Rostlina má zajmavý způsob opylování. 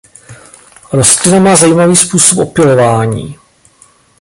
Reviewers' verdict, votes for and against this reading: rejected, 1, 2